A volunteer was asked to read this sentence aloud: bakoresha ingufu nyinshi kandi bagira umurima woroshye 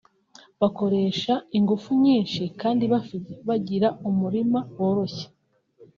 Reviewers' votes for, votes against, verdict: 0, 2, rejected